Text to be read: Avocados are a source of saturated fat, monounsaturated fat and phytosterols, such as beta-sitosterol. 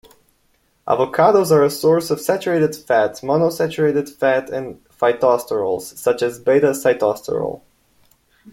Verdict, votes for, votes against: accepted, 2, 0